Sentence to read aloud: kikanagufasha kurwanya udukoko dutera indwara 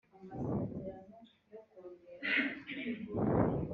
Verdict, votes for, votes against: accepted, 2, 1